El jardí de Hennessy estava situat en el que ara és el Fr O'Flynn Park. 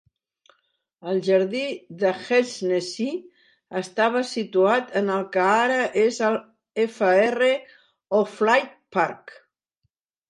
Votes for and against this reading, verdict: 0, 2, rejected